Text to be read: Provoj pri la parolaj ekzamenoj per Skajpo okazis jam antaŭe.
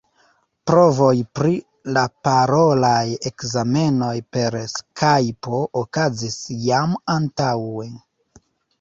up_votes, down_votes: 1, 2